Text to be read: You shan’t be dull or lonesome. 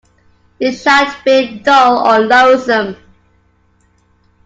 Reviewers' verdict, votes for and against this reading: rejected, 1, 2